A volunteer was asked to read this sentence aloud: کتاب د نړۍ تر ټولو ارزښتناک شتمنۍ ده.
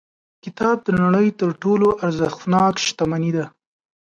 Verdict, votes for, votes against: accepted, 2, 0